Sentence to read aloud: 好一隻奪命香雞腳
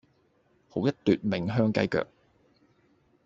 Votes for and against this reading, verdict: 0, 2, rejected